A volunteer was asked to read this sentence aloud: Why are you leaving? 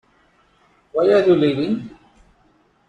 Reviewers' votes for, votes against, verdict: 2, 0, accepted